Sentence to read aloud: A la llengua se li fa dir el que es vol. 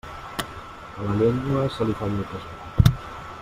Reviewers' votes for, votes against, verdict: 0, 2, rejected